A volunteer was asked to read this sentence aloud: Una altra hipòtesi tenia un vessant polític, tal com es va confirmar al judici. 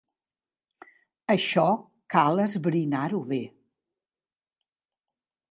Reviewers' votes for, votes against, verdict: 0, 2, rejected